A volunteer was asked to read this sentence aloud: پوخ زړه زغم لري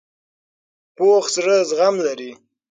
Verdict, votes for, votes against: accepted, 6, 0